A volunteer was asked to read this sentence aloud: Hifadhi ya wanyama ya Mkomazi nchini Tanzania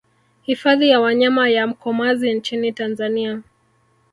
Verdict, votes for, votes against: rejected, 0, 2